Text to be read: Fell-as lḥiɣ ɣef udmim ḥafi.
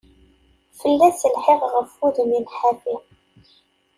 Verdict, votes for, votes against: accepted, 2, 0